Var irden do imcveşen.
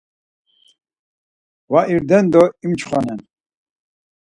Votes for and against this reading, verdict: 0, 4, rejected